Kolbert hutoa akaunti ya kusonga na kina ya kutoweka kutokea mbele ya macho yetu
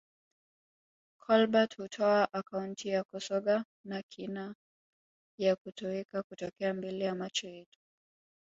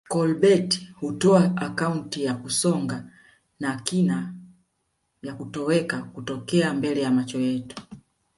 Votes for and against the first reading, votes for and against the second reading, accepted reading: 2, 1, 0, 2, first